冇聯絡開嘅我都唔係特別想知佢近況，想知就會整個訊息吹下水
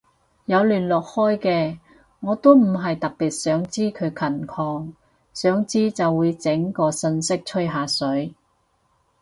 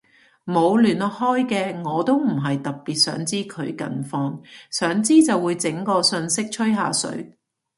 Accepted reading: second